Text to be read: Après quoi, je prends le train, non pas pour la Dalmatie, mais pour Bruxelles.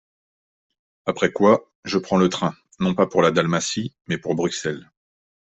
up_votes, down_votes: 2, 0